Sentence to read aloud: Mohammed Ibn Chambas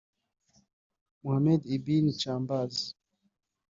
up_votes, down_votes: 2, 3